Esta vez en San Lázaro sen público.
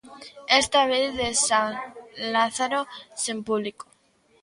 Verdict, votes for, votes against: rejected, 1, 2